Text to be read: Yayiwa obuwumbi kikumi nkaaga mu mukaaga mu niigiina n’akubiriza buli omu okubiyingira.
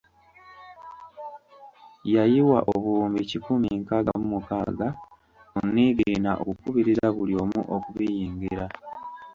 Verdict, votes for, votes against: rejected, 1, 2